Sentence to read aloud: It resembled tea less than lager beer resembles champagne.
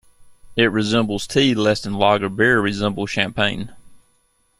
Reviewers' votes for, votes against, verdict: 2, 1, accepted